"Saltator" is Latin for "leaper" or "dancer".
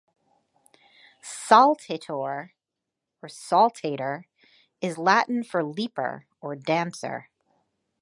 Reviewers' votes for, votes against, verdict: 0, 2, rejected